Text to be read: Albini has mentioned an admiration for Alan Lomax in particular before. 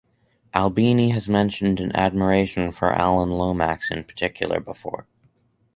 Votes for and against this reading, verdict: 4, 0, accepted